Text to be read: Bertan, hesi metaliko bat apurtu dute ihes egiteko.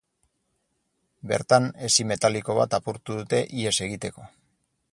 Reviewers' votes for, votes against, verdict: 4, 0, accepted